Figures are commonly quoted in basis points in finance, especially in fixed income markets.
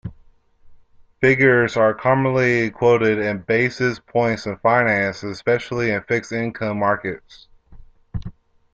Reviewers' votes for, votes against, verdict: 2, 0, accepted